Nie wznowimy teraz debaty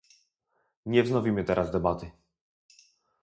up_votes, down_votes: 2, 2